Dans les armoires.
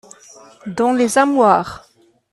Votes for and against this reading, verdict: 1, 2, rejected